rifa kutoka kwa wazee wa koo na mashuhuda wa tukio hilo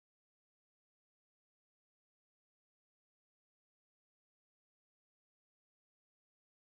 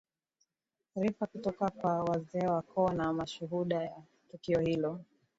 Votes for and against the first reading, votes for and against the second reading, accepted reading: 0, 2, 2, 0, second